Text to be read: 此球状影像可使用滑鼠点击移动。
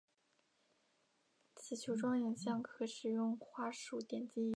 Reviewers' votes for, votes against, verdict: 0, 2, rejected